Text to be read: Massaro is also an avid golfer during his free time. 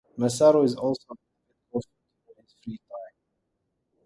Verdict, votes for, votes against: rejected, 0, 2